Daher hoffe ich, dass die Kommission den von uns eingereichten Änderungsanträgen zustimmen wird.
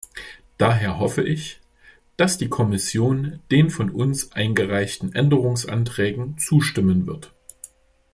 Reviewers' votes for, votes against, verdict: 2, 0, accepted